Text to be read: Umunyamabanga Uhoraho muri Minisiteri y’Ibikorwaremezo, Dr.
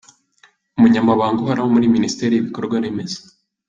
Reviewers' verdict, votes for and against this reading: rejected, 0, 2